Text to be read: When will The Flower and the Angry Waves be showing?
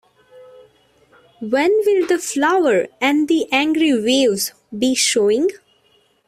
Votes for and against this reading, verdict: 2, 0, accepted